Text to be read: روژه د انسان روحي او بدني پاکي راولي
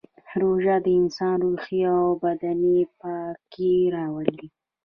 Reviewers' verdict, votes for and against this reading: accepted, 2, 1